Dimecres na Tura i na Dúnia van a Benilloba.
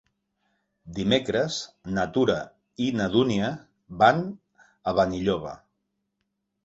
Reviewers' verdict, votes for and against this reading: accepted, 3, 0